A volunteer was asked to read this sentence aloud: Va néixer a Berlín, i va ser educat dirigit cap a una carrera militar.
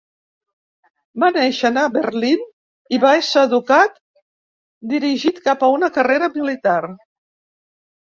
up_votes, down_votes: 2, 0